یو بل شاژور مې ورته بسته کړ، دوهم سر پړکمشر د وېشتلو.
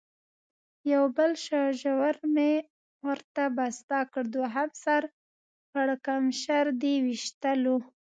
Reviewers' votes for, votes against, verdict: 1, 2, rejected